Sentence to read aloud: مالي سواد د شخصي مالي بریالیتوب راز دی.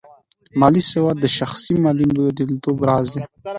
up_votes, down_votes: 2, 0